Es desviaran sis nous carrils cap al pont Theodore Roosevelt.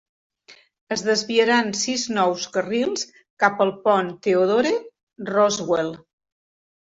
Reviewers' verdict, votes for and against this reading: rejected, 0, 2